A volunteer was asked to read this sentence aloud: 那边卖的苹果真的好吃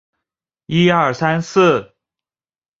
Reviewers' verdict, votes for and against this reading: rejected, 0, 2